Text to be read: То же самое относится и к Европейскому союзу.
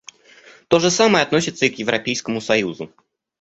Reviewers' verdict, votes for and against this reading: rejected, 1, 2